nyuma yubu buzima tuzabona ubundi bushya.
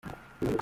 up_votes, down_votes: 0, 2